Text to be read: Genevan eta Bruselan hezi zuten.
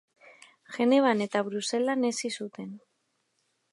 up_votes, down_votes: 2, 0